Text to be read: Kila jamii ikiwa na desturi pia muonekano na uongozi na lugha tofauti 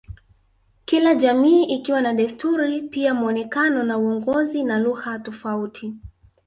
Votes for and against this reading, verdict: 1, 2, rejected